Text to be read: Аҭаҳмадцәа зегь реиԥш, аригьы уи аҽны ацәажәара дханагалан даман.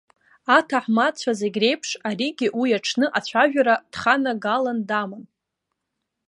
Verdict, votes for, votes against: accepted, 2, 0